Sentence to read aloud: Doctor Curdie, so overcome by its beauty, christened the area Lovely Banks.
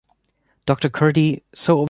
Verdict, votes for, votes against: rejected, 1, 2